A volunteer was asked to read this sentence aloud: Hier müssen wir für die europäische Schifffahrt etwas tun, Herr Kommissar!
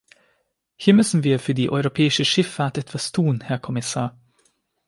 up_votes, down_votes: 2, 0